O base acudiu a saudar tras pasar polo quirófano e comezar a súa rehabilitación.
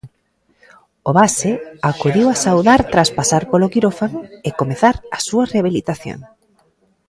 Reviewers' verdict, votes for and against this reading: rejected, 1, 2